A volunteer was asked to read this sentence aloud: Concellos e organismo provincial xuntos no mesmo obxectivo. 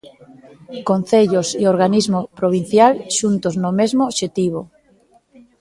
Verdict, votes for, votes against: rejected, 1, 2